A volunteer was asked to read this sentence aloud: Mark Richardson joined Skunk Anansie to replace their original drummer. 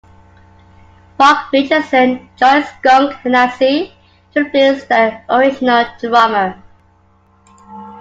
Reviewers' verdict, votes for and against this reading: accepted, 2, 1